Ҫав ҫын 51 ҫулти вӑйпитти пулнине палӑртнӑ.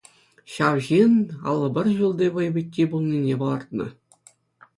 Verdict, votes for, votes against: rejected, 0, 2